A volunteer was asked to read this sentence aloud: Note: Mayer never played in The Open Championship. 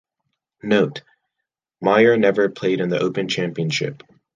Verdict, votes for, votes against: accepted, 2, 0